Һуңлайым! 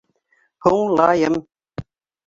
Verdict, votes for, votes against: accepted, 3, 1